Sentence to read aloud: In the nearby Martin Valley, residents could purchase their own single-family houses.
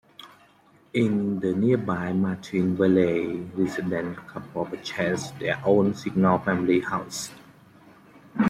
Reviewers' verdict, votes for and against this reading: rejected, 1, 2